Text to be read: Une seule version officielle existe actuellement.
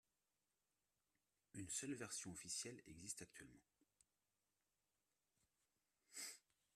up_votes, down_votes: 2, 0